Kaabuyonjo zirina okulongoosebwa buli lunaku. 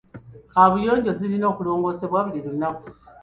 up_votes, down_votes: 2, 0